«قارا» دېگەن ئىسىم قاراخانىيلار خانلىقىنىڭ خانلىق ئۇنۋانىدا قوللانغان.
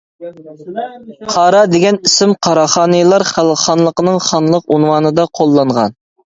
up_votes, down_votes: 1, 2